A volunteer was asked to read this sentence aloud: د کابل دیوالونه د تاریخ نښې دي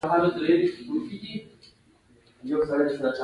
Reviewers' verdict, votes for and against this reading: accepted, 2, 0